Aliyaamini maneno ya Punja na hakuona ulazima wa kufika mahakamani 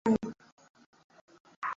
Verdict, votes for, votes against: rejected, 0, 2